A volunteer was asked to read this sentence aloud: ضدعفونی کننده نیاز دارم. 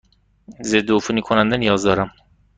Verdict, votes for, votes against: accepted, 2, 0